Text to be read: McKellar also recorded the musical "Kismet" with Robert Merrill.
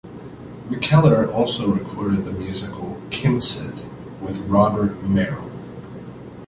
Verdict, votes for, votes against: accepted, 2, 1